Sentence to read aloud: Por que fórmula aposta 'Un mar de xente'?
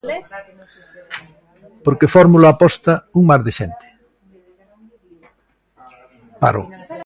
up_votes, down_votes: 0, 3